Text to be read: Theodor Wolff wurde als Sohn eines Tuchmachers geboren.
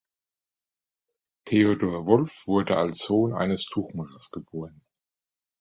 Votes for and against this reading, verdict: 2, 0, accepted